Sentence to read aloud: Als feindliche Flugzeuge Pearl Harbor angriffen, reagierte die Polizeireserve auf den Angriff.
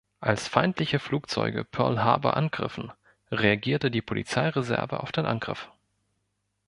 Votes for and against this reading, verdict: 2, 0, accepted